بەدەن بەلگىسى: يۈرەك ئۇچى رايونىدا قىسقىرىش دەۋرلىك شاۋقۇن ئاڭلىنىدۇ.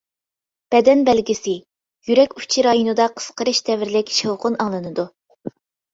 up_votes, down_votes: 2, 0